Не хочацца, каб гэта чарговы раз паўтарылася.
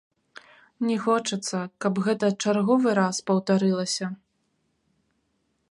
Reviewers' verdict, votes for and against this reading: rejected, 0, 2